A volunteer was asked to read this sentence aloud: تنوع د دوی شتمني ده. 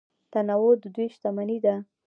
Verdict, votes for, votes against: accepted, 2, 0